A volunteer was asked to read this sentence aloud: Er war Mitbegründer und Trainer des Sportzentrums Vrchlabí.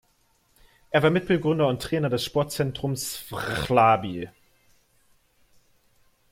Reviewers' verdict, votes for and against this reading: rejected, 1, 2